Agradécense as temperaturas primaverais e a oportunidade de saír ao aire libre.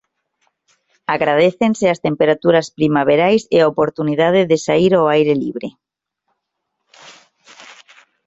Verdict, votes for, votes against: accepted, 2, 0